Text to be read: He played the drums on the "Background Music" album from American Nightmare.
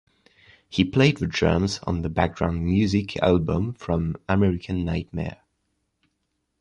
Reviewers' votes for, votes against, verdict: 2, 0, accepted